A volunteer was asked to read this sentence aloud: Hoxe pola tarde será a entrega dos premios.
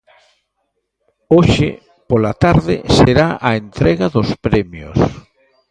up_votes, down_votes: 2, 1